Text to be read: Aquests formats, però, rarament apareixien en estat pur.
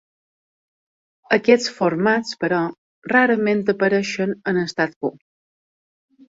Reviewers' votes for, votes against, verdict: 2, 1, accepted